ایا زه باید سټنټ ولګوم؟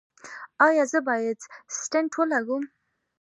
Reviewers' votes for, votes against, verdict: 2, 0, accepted